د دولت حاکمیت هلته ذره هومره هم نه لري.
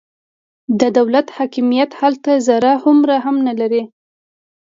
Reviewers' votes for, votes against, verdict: 2, 0, accepted